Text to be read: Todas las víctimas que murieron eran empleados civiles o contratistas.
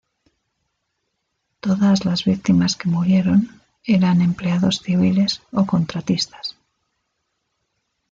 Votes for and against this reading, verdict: 2, 0, accepted